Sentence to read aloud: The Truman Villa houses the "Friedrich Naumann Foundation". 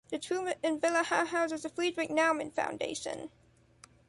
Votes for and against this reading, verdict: 1, 2, rejected